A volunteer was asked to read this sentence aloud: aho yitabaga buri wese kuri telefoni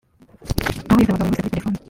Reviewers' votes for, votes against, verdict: 0, 2, rejected